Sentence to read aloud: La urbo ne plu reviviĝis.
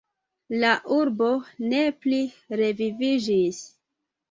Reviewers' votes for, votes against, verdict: 0, 2, rejected